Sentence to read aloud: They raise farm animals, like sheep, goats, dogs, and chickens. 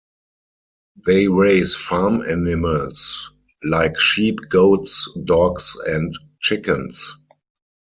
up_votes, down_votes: 4, 2